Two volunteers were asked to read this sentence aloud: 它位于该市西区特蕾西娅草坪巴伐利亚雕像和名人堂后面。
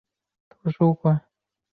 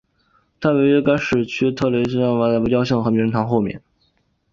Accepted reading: second